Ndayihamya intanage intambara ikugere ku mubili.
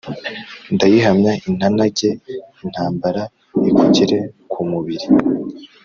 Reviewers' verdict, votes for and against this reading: accepted, 3, 0